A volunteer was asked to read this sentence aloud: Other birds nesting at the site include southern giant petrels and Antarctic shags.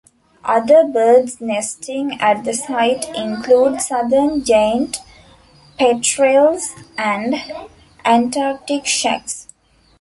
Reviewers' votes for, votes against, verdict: 2, 0, accepted